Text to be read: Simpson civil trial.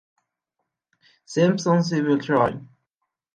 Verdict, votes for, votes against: accepted, 2, 0